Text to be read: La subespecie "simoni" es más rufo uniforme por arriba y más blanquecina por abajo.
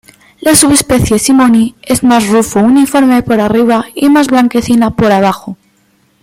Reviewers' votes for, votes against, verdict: 2, 0, accepted